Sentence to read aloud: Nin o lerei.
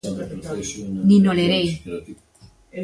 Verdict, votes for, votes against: rejected, 1, 2